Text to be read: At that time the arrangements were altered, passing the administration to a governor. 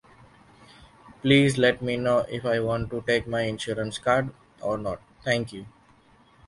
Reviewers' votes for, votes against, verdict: 0, 2, rejected